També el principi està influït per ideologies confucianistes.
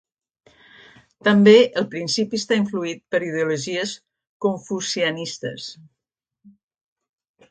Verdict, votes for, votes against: accepted, 2, 0